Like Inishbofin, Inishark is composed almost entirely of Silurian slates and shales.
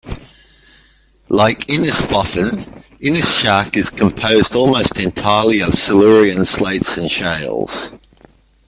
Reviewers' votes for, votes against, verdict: 1, 2, rejected